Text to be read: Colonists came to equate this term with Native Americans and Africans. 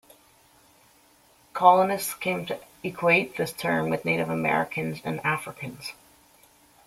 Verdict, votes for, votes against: accepted, 2, 0